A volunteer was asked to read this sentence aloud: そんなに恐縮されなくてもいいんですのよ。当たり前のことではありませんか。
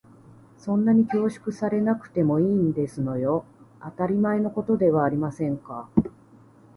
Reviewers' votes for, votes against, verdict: 3, 0, accepted